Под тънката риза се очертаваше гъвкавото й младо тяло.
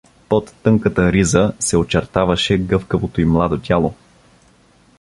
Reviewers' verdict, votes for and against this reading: accepted, 2, 0